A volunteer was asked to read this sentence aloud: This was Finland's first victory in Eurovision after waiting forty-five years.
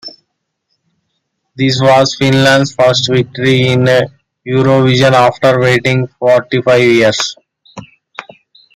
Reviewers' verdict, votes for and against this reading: rejected, 0, 2